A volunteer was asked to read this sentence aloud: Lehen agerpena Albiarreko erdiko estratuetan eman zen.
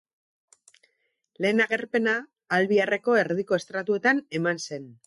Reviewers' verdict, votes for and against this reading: accepted, 4, 0